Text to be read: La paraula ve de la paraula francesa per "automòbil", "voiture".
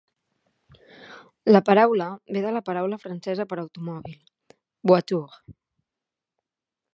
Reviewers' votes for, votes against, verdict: 2, 1, accepted